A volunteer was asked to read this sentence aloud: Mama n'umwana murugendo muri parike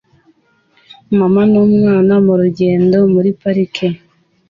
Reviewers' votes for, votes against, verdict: 2, 0, accepted